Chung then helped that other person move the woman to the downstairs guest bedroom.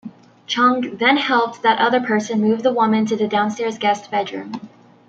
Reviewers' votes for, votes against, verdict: 2, 0, accepted